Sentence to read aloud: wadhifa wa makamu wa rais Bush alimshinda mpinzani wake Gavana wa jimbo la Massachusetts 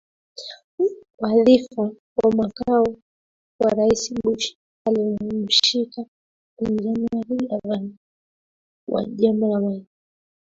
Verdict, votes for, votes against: rejected, 0, 2